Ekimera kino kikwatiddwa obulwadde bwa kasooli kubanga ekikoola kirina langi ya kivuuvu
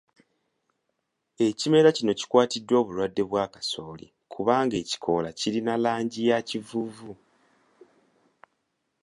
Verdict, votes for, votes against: accepted, 2, 0